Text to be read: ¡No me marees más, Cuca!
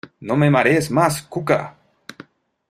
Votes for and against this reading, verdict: 2, 0, accepted